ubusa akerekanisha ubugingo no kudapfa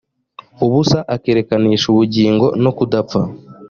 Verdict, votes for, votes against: accepted, 2, 0